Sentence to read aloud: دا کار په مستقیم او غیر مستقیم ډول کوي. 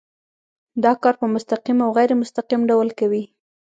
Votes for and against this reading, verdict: 2, 0, accepted